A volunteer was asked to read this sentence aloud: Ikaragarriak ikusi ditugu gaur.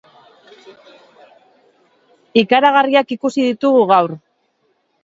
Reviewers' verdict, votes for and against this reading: accepted, 2, 0